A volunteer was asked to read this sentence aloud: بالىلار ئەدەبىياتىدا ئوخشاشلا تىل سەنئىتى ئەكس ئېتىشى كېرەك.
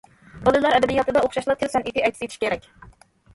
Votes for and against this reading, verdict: 0, 2, rejected